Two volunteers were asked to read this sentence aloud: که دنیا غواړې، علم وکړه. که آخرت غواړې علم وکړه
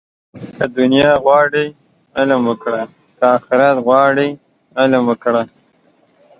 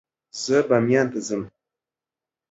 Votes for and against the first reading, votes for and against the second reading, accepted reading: 2, 1, 0, 2, first